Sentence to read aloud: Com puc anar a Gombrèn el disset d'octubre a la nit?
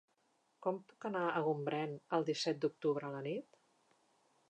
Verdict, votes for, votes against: accepted, 2, 0